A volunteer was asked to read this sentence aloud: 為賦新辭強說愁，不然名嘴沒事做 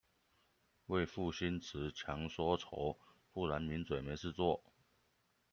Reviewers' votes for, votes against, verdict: 1, 2, rejected